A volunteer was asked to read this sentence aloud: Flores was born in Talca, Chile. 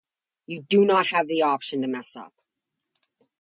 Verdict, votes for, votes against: rejected, 0, 2